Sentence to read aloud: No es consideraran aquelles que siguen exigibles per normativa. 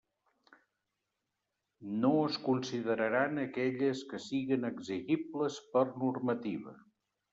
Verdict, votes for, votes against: rejected, 1, 2